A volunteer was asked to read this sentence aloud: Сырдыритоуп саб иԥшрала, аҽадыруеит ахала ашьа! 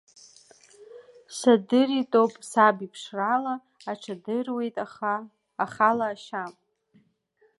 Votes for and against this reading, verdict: 2, 0, accepted